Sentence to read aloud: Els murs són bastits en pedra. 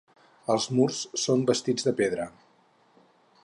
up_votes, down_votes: 2, 4